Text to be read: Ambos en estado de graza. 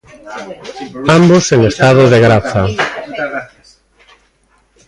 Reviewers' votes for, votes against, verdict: 0, 2, rejected